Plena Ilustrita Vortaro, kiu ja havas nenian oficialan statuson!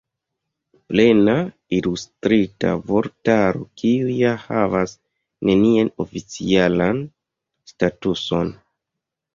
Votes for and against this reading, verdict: 1, 2, rejected